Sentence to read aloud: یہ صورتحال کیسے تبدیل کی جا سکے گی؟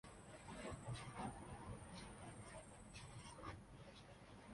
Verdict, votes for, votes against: rejected, 0, 2